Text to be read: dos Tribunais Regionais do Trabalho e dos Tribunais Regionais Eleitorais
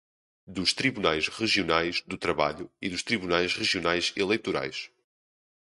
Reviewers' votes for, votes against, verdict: 2, 0, accepted